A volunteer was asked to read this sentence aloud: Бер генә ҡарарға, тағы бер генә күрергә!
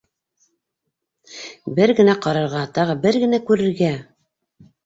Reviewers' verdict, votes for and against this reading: accepted, 3, 0